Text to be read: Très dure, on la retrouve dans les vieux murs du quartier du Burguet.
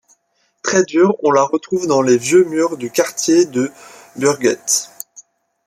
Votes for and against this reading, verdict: 0, 2, rejected